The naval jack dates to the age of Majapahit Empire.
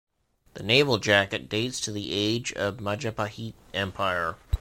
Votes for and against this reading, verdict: 1, 2, rejected